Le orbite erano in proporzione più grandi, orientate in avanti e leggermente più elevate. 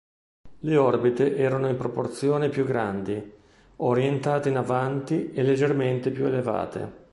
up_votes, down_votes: 2, 0